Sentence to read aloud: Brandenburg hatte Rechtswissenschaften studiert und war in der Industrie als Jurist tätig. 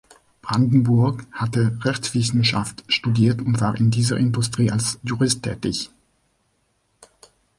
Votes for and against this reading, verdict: 0, 2, rejected